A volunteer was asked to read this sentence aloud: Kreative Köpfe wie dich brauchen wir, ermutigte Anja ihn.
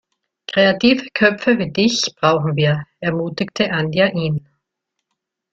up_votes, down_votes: 1, 2